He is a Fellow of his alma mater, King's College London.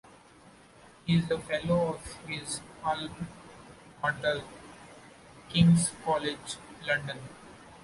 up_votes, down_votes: 0, 2